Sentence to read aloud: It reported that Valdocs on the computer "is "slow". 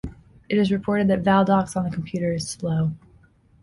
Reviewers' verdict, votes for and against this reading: accepted, 2, 0